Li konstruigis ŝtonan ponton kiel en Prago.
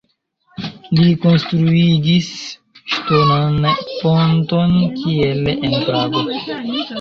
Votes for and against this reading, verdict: 0, 2, rejected